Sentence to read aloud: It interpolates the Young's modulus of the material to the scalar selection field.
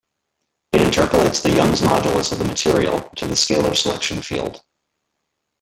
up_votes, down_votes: 1, 2